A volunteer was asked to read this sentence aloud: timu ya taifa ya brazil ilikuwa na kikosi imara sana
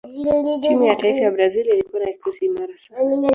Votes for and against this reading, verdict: 1, 2, rejected